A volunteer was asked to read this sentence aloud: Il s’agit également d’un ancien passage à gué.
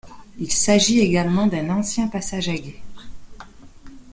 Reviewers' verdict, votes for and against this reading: rejected, 1, 2